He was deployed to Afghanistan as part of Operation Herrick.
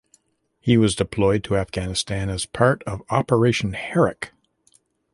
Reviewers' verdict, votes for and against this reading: accepted, 2, 0